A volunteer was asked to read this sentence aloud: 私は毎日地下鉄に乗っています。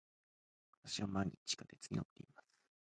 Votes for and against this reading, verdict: 1, 2, rejected